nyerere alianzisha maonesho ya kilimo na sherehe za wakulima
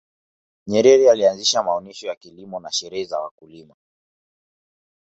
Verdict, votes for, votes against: accepted, 2, 0